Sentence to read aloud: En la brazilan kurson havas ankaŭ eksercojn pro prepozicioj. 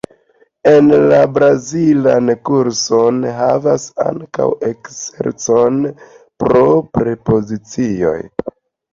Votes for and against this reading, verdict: 2, 1, accepted